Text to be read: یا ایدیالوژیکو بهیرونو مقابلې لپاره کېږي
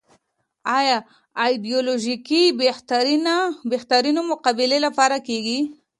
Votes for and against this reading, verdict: 1, 2, rejected